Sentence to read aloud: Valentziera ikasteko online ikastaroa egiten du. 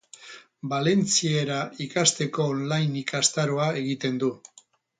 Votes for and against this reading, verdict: 4, 0, accepted